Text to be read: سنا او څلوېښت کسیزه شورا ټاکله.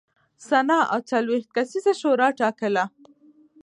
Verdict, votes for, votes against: accepted, 2, 1